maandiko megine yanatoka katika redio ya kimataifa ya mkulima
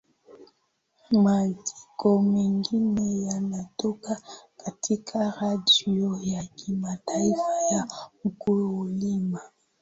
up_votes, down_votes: 3, 0